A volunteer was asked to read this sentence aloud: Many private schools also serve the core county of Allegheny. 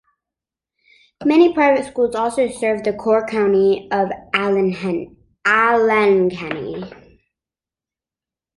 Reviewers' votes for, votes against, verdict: 1, 2, rejected